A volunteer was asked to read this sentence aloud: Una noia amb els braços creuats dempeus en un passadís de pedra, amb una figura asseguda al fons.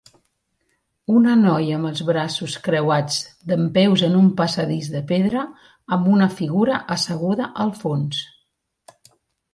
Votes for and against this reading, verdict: 3, 0, accepted